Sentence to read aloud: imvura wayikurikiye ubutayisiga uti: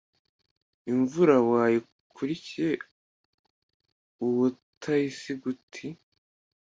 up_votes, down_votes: 2, 0